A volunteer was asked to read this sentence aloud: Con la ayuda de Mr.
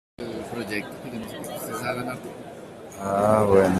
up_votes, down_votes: 0, 2